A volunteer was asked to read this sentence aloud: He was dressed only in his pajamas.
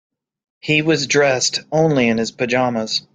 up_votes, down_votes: 2, 0